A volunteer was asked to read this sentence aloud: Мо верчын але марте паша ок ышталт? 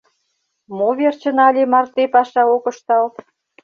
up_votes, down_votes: 2, 0